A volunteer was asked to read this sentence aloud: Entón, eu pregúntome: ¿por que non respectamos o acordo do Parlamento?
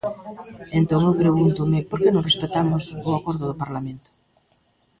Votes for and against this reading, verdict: 1, 2, rejected